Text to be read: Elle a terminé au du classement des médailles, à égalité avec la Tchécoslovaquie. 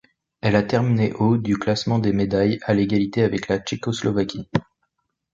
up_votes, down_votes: 1, 2